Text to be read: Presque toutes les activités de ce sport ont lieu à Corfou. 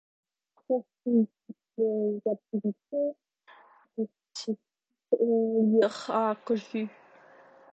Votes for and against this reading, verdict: 0, 2, rejected